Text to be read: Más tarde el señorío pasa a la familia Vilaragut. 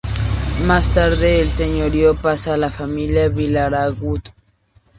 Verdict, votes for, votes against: rejected, 0, 2